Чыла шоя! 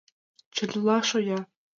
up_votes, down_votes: 2, 0